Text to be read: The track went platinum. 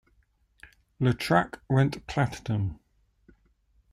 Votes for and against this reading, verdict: 0, 2, rejected